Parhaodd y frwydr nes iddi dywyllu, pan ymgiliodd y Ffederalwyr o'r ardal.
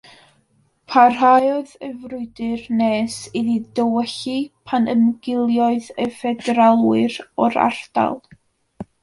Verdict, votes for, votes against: accepted, 2, 0